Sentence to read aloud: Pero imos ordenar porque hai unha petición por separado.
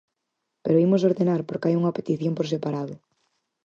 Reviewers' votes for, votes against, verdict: 6, 0, accepted